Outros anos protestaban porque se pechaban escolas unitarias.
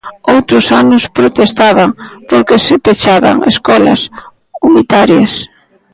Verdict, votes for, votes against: rejected, 0, 2